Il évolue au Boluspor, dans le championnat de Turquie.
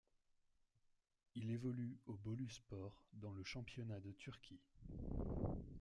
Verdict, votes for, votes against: accepted, 2, 1